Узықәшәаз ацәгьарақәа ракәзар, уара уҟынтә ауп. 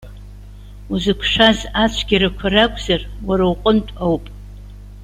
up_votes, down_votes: 1, 2